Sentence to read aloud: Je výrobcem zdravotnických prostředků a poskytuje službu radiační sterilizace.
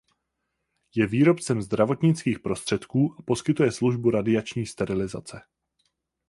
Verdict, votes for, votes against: accepted, 4, 0